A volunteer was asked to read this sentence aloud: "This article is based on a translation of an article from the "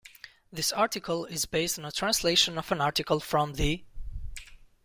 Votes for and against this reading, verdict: 2, 0, accepted